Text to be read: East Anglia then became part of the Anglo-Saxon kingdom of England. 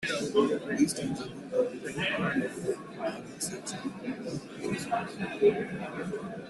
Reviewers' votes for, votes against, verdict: 0, 2, rejected